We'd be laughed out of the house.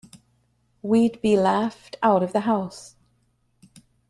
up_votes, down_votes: 2, 0